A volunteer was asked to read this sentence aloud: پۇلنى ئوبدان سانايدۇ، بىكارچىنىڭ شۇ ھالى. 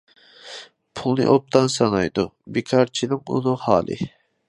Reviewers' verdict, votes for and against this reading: rejected, 0, 2